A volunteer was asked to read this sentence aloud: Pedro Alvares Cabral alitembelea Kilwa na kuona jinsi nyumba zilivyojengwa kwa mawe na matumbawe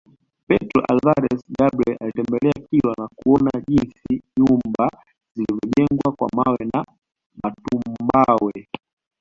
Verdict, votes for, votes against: accepted, 2, 1